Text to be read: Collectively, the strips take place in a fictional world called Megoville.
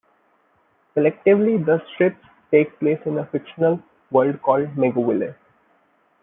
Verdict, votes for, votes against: accepted, 2, 0